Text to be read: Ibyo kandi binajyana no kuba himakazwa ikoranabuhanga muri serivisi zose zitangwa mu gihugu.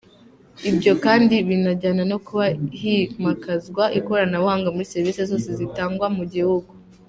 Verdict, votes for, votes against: accepted, 2, 0